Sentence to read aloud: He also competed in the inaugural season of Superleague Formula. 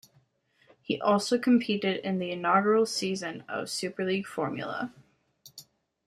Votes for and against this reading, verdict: 2, 0, accepted